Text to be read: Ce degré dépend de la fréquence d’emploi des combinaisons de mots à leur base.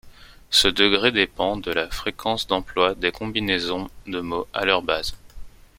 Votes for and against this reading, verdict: 2, 0, accepted